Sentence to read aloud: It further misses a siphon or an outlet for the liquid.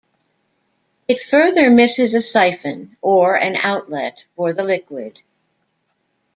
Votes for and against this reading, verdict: 2, 0, accepted